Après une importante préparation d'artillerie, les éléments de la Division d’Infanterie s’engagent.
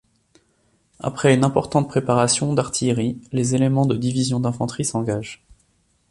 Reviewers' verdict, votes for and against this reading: rejected, 0, 2